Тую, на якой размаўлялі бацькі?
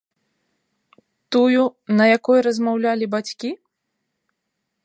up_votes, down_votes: 3, 0